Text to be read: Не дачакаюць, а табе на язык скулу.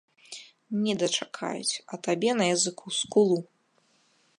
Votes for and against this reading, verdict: 0, 2, rejected